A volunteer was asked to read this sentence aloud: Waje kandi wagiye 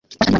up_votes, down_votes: 0, 2